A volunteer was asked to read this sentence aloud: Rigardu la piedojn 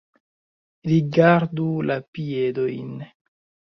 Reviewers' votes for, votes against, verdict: 1, 2, rejected